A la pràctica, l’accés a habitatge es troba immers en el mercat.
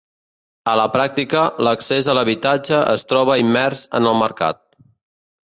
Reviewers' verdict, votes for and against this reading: rejected, 1, 2